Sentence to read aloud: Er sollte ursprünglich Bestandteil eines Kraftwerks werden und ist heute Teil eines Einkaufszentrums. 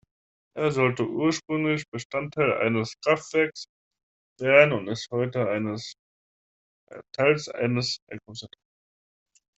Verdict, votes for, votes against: rejected, 0, 2